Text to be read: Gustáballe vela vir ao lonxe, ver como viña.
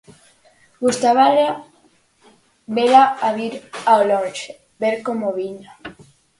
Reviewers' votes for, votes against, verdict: 0, 4, rejected